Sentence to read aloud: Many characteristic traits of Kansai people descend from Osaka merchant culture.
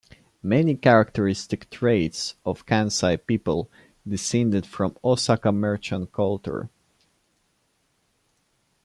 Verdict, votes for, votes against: rejected, 0, 2